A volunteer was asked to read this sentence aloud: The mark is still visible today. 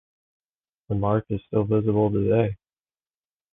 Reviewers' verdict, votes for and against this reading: accepted, 2, 0